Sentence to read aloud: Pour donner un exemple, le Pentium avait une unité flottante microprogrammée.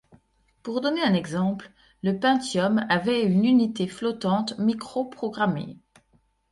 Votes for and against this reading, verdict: 2, 0, accepted